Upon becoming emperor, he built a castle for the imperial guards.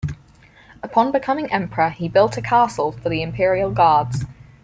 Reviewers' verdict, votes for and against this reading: accepted, 4, 0